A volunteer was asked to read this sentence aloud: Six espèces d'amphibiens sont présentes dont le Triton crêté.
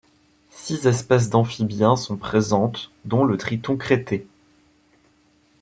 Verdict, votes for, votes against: rejected, 1, 2